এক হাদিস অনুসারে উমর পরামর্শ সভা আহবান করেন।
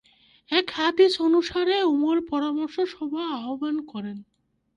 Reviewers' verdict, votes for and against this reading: rejected, 8, 9